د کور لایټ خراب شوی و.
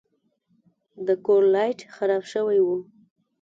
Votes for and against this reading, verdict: 2, 0, accepted